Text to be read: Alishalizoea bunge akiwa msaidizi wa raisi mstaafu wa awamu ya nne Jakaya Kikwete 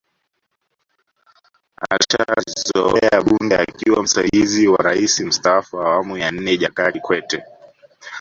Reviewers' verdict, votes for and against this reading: rejected, 1, 2